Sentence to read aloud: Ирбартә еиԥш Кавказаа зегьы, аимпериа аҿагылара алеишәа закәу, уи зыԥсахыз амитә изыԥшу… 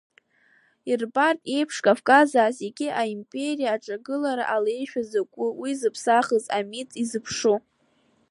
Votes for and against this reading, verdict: 1, 2, rejected